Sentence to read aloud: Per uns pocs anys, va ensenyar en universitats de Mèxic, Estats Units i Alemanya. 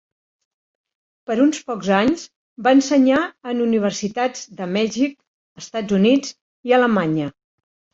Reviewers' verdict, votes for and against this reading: accepted, 2, 0